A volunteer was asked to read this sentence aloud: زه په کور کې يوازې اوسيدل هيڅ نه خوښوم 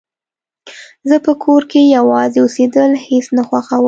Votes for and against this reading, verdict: 2, 0, accepted